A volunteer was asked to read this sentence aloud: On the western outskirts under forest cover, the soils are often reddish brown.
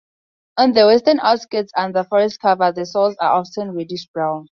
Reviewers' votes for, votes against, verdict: 4, 0, accepted